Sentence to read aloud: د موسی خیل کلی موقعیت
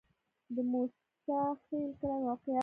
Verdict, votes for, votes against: rejected, 1, 2